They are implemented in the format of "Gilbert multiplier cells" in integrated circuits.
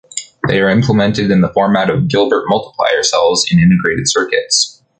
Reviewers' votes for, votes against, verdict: 2, 0, accepted